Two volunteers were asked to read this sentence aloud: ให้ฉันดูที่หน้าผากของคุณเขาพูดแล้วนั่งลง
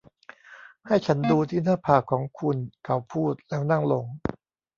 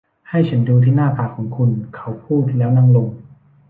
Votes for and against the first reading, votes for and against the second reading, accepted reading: 1, 2, 2, 0, second